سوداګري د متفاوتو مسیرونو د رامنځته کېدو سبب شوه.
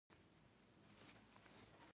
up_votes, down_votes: 1, 2